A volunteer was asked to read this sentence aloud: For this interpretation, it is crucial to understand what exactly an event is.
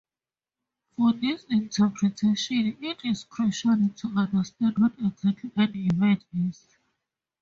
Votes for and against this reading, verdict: 4, 0, accepted